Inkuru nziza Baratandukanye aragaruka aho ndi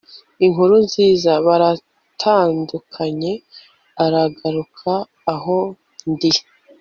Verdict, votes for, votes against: accepted, 2, 0